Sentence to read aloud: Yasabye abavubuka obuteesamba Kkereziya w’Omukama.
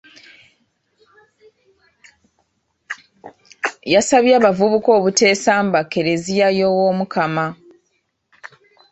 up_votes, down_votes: 3, 4